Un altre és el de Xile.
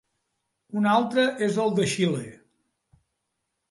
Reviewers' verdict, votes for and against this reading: accepted, 4, 0